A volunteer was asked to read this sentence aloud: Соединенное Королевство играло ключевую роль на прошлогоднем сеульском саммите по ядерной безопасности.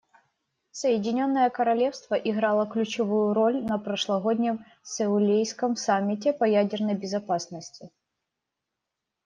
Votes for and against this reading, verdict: 1, 2, rejected